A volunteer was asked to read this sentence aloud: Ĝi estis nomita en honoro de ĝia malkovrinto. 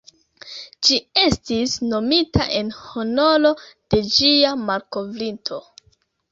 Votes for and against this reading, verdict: 1, 2, rejected